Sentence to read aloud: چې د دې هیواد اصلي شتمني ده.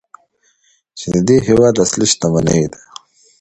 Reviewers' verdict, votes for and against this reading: accepted, 2, 0